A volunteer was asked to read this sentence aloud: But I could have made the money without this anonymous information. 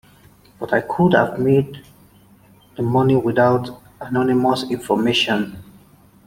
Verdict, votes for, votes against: rejected, 1, 2